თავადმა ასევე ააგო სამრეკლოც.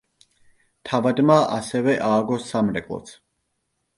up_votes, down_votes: 2, 0